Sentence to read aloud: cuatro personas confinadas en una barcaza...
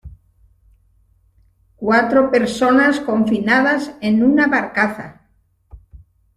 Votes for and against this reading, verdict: 2, 0, accepted